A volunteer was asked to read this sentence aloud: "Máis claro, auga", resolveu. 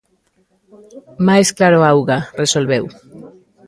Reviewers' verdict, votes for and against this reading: rejected, 0, 2